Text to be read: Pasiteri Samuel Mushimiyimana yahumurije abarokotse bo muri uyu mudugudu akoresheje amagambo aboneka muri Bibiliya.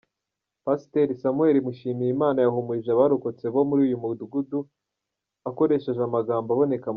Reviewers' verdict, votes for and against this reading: rejected, 1, 2